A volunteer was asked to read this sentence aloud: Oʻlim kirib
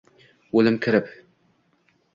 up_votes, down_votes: 2, 0